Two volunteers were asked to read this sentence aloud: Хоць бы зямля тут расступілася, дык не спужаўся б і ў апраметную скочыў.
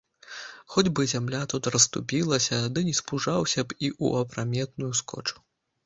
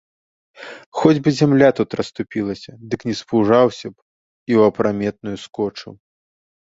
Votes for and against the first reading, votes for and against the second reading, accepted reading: 1, 2, 2, 0, second